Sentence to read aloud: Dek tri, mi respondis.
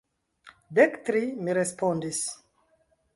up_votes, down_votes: 0, 2